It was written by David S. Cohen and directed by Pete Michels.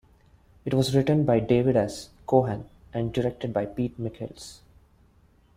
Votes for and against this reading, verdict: 2, 1, accepted